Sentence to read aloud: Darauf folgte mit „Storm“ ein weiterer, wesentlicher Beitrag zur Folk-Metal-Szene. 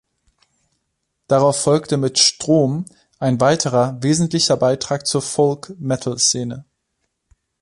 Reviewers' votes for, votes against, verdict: 0, 2, rejected